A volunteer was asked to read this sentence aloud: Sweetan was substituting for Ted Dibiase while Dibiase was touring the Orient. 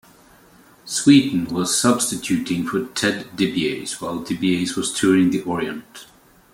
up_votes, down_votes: 2, 0